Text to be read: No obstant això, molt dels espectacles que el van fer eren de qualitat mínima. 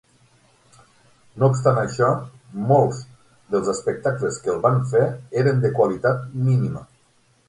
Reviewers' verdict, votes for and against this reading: rejected, 0, 6